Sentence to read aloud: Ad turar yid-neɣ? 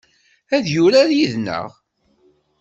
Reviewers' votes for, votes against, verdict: 1, 2, rejected